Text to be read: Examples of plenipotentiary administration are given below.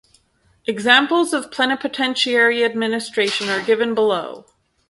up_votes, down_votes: 2, 4